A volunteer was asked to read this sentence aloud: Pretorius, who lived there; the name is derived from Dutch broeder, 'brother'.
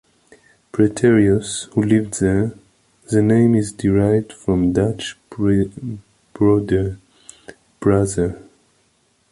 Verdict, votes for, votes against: rejected, 0, 2